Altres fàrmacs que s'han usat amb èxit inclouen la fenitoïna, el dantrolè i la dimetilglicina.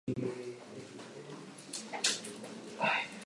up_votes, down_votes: 2, 1